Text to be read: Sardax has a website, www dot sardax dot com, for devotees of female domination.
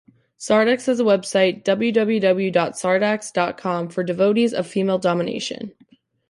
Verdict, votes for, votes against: accepted, 2, 0